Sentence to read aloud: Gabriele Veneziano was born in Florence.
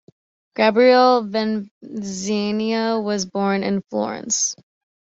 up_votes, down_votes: 0, 2